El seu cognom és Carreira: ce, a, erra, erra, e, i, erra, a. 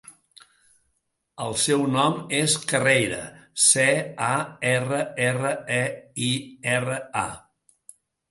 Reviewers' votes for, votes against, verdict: 0, 2, rejected